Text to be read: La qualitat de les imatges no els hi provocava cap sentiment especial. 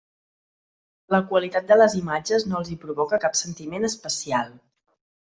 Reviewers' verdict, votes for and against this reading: rejected, 0, 2